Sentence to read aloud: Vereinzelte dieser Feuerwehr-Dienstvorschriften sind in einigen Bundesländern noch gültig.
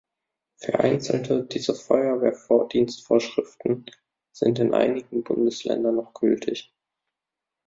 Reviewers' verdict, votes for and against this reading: rejected, 0, 2